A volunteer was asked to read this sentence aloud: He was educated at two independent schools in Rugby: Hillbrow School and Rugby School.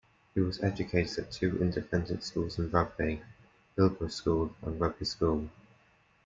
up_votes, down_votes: 2, 0